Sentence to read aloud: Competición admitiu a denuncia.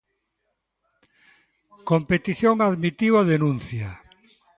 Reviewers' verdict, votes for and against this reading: accepted, 2, 0